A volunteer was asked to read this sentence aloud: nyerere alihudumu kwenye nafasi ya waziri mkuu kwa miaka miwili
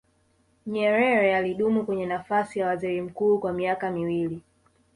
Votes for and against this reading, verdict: 1, 2, rejected